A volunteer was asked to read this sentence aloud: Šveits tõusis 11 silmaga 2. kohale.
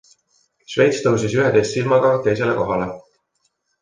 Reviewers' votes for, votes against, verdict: 0, 2, rejected